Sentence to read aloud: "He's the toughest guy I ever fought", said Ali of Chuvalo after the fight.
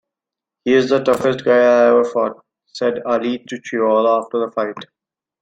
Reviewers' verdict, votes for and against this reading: rejected, 0, 2